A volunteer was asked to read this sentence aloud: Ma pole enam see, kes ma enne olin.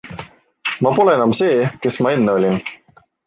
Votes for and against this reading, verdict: 2, 0, accepted